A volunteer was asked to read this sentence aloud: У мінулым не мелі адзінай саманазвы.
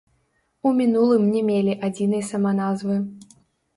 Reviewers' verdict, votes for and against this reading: rejected, 1, 2